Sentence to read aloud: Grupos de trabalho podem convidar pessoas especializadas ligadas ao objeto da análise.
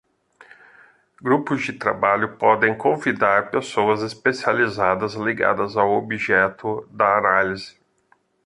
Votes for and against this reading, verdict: 2, 0, accepted